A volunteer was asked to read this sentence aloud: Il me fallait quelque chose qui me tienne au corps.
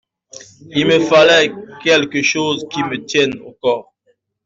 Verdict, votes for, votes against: accepted, 2, 1